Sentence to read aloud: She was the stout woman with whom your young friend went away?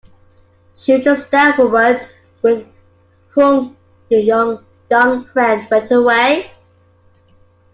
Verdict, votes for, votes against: rejected, 0, 2